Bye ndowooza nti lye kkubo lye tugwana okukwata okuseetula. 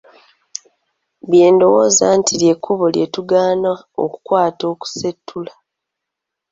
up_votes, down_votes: 2, 1